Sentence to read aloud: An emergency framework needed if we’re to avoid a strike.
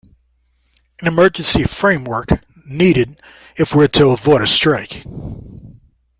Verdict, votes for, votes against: accepted, 2, 0